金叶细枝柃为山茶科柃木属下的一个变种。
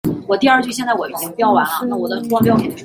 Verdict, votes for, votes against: rejected, 0, 2